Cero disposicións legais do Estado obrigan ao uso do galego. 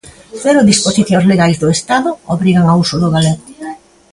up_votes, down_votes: 2, 0